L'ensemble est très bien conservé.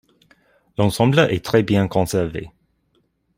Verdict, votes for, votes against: accepted, 3, 0